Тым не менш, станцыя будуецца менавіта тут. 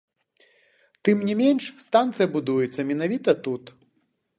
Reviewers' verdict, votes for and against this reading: accepted, 2, 1